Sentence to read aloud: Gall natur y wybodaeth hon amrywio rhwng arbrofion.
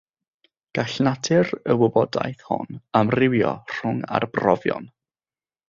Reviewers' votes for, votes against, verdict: 3, 0, accepted